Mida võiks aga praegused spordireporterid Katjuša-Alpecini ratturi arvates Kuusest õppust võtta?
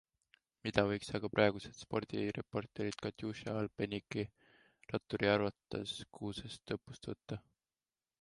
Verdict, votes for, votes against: accepted, 2, 0